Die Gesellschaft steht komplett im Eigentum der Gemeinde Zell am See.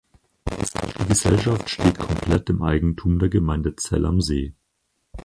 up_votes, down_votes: 0, 4